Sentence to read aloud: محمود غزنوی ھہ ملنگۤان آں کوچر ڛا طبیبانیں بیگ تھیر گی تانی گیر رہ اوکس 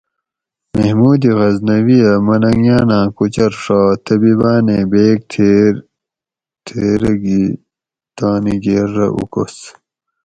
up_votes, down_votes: 2, 2